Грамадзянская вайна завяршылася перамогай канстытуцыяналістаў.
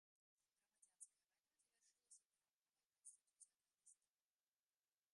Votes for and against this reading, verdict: 0, 2, rejected